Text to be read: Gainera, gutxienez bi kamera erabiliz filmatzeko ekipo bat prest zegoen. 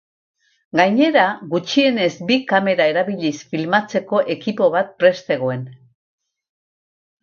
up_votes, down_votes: 4, 0